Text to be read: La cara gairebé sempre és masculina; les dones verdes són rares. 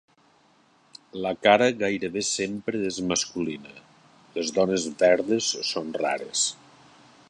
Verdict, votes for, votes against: accepted, 3, 0